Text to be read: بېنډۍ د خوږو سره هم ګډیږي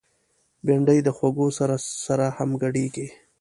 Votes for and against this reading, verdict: 1, 2, rejected